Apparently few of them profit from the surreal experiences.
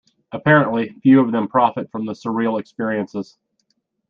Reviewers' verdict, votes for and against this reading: accepted, 2, 0